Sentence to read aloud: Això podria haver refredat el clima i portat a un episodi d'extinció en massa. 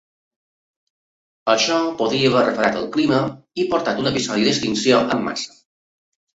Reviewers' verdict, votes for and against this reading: accepted, 3, 0